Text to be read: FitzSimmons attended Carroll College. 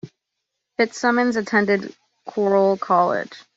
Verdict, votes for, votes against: rejected, 1, 2